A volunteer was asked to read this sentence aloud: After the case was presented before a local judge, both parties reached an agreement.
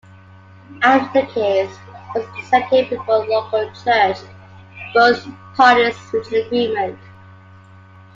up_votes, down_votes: 1, 2